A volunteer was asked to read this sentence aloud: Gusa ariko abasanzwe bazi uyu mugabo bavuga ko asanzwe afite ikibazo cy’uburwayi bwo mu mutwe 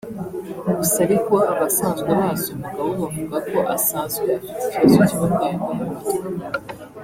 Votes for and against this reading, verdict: 1, 2, rejected